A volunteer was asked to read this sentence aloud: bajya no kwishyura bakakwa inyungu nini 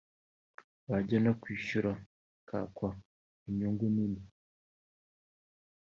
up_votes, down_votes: 2, 0